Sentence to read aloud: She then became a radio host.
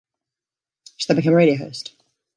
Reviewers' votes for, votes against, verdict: 0, 2, rejected